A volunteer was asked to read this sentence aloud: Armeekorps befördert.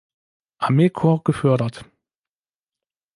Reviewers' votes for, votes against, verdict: 1, 2, rejected